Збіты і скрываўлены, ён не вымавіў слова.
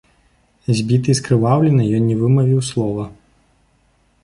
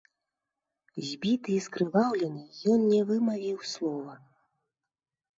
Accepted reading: first